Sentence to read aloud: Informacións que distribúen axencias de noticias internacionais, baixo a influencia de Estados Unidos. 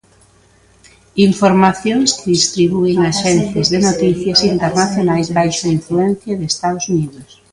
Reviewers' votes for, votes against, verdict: 2, 1, accepted